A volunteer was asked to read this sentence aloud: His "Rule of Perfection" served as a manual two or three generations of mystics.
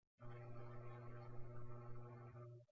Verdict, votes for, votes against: rejected, 0, 2